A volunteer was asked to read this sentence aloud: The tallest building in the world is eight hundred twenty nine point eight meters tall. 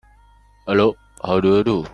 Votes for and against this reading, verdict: 0, 2, rejected